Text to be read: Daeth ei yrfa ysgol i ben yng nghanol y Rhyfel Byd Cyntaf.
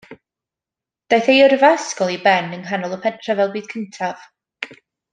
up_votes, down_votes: 0, 2